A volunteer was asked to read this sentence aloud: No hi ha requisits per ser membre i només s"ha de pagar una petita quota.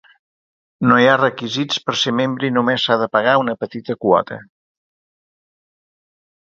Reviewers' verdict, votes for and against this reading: accepted, 2, 0